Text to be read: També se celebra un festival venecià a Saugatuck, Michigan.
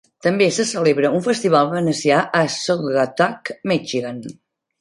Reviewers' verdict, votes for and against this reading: accepted, 2, 0